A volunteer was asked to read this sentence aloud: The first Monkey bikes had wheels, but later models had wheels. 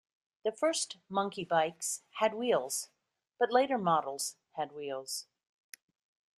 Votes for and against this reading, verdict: 0, 2, rejected